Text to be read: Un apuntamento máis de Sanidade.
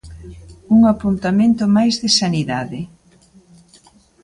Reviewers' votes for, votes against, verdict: 2, 0, accepted